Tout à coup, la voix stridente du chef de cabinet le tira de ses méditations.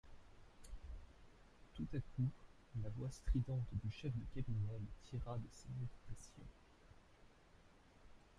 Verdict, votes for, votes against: rejected, 0, 2